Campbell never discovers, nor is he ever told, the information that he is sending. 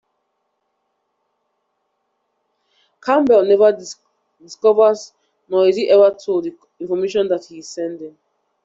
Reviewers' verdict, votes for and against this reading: rejected, 1, 2